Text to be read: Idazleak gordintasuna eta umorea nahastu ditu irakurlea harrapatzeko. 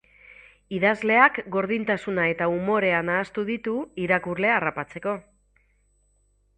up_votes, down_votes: 8, 0